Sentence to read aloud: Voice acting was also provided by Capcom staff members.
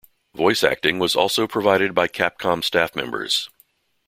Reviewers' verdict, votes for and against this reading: accepted, 2, 0